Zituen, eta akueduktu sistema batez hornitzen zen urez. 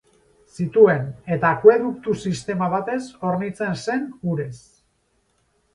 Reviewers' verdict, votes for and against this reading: accepted, 6, 0